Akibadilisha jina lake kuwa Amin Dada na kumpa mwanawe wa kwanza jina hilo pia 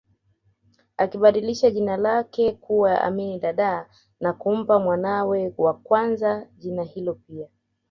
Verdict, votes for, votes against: accepted, 2, 1